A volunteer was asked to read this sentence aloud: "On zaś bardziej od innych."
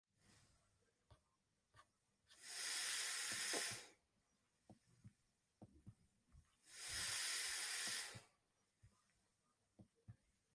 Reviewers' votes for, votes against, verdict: 0, 2, rejected